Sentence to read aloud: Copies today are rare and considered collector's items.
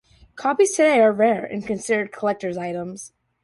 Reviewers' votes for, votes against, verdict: 2, 0, accepted